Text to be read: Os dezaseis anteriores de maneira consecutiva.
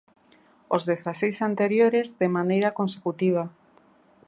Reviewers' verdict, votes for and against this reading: accepted, 2, 0